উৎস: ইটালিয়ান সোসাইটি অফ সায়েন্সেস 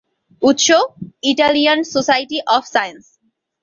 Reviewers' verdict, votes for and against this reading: rejected, 0, 2